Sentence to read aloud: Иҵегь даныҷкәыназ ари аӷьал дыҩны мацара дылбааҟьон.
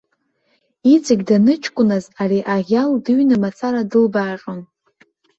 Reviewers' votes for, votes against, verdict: 2, 0, accepted